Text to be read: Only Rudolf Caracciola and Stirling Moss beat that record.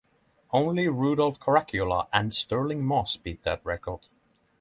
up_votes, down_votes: 3, 0